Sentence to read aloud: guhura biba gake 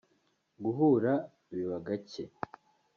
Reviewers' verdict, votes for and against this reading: accepted, 2, 0